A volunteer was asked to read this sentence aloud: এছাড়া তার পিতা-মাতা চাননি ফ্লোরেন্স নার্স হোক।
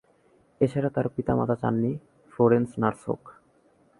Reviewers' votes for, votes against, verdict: 2, 0, accepted